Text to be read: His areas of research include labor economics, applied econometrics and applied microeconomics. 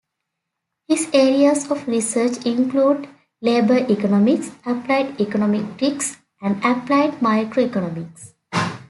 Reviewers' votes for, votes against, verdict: 2, 0, accepted